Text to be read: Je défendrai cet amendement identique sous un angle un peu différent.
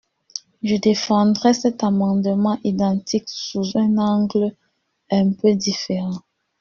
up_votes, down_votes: 2, 1